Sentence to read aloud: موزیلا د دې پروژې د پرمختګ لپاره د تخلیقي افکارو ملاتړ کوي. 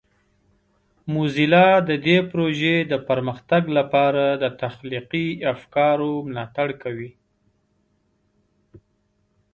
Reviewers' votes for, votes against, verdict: 3, 0, accepted